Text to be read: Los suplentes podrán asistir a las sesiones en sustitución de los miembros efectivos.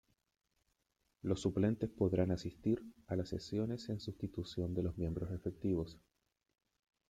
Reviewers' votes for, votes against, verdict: 2, 0, accepted